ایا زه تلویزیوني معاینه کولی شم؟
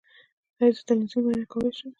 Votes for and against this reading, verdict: 1, 2, rejected